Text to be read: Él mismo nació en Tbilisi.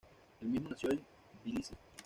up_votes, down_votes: 1, 2